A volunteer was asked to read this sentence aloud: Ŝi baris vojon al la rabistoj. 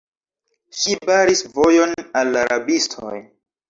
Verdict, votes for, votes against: rejected, 0, 2